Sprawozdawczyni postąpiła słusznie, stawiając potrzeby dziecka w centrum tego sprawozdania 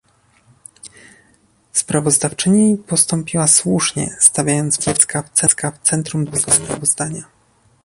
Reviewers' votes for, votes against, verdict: 1, 2, rejected